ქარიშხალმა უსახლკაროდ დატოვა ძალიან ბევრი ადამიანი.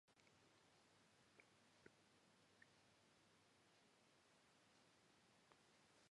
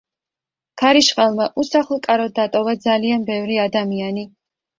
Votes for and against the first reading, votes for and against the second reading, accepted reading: 0, 2, 2, 0, second